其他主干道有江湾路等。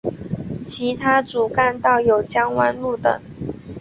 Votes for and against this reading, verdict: 3, 0, accepted